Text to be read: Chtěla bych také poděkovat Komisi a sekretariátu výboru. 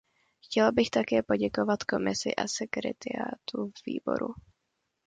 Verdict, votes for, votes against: rejected, 1, 2